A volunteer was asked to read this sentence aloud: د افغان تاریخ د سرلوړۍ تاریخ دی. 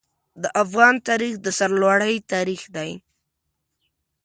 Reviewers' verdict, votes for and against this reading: accepted, 2, 0